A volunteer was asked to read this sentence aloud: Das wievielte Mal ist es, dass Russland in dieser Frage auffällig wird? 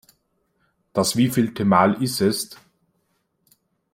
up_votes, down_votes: 0, 2